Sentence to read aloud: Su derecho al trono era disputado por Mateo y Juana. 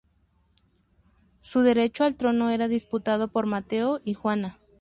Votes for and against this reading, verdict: 4, 0, accepted